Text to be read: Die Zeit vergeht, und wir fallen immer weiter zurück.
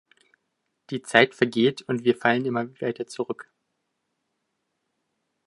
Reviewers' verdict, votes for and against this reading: rejected, 1, 2